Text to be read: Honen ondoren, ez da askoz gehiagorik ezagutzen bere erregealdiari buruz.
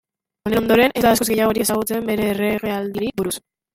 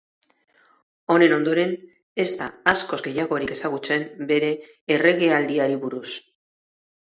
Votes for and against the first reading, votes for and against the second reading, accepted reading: 0, 2, 6, 0, second